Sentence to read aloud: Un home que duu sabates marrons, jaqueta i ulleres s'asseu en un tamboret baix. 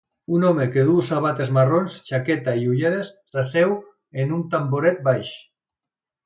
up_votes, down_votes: 3, 0